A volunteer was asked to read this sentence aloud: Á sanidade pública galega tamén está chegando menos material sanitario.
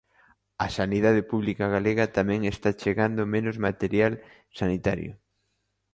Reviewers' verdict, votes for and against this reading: accepted, 2, 0